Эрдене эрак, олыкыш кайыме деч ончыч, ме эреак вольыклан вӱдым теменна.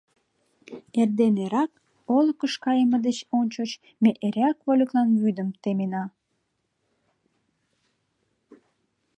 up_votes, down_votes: 0, 2